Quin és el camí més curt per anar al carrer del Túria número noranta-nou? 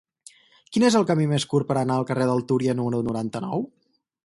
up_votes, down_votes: 4, 0